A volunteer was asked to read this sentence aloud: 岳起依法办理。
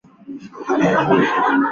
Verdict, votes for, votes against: rejected, 1, 2